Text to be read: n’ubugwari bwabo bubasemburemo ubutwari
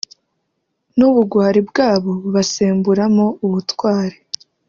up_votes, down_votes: 1, 2